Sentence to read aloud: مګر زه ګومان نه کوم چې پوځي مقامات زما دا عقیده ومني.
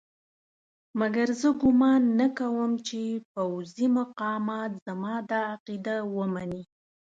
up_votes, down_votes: 2, 0